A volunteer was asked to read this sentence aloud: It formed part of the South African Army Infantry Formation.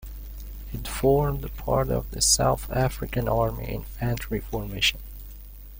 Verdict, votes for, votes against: rejected, 0, 2